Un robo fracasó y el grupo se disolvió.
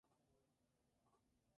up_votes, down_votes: 0, 4